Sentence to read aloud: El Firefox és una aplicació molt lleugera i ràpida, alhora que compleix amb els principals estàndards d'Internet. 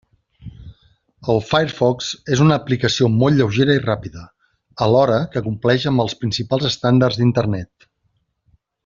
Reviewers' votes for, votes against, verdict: 3, 0, accepted